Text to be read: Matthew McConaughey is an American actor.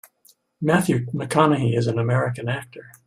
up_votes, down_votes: 2, 0